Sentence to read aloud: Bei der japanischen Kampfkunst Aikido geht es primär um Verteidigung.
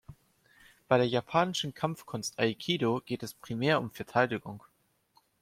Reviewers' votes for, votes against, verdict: 2, 0, accepted